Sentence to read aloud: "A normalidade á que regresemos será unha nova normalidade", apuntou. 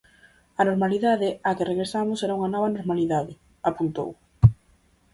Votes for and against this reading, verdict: 0, 4, rejected